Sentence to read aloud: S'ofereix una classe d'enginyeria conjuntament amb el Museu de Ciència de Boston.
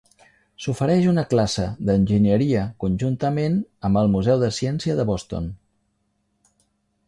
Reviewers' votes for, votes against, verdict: 2, 0, accepted